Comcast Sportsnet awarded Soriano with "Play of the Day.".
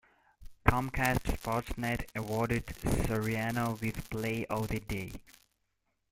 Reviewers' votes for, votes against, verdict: 0, 2, rejected